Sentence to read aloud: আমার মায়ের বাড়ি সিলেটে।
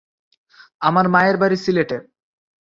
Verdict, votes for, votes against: accepted, 3, 0